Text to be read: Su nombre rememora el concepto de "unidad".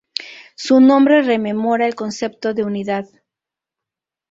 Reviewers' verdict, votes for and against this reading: accepted, 2, 0